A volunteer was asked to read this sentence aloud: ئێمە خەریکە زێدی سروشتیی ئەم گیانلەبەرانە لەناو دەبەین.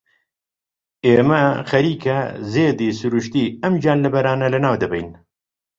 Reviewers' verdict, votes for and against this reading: accepted, 2, 0